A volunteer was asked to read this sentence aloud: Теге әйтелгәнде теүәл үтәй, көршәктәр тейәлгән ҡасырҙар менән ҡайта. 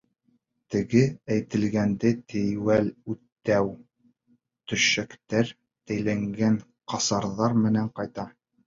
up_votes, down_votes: 0, 2